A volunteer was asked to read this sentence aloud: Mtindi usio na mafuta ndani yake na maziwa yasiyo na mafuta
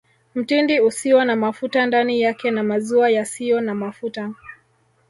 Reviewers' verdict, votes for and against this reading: rejected, 1, 2